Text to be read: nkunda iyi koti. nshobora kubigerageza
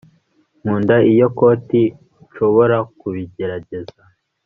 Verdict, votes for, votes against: rejected, 1, 2